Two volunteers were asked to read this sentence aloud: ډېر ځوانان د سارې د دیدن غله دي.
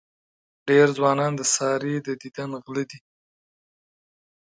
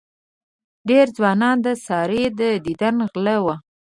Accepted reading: first